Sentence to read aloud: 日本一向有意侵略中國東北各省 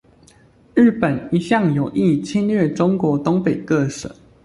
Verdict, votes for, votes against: accepted, 2, 0